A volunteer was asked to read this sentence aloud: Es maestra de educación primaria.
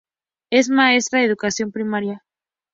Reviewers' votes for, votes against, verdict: 2, 0, accepted